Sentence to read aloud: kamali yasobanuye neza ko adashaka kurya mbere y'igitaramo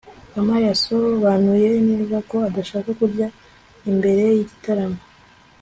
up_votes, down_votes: 2, 1